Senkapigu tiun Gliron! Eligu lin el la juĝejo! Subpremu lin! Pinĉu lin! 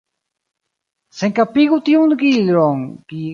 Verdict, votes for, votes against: rejected, 0, 2